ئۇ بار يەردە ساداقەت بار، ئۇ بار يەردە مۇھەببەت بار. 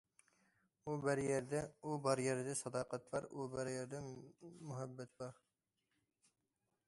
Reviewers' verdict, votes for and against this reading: rejected, 0, 2